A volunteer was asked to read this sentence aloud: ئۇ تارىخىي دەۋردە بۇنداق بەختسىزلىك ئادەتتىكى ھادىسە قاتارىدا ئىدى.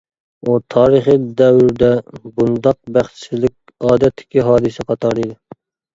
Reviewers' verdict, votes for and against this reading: rejected, 1, 2